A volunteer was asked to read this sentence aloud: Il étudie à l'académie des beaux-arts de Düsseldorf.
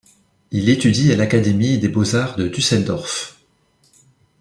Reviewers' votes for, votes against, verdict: 2, 0, accepted